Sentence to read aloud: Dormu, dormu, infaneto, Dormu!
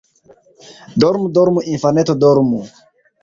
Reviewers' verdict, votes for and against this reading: accepted, 2, 0